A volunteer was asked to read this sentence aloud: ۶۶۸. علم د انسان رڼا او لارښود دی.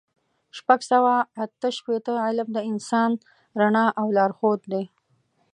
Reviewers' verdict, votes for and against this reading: rejected, 0, 2